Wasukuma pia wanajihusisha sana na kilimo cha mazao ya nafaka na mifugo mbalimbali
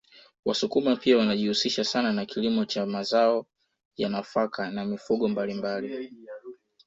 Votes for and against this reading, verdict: 0, 2, rejected